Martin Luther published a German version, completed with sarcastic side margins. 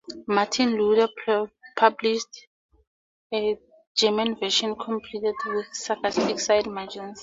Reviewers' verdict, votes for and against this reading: rejected, 2, 2